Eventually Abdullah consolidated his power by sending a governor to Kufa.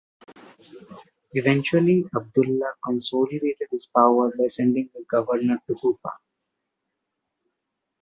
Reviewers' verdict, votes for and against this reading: accepted, 2, 0